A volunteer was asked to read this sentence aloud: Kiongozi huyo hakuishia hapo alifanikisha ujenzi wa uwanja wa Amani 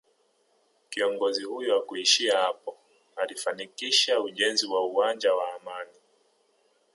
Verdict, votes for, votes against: rejected, 1, 2